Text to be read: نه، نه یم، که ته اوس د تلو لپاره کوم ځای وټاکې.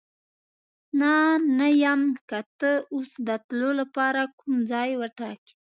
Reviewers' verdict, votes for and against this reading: accepted, 2, 0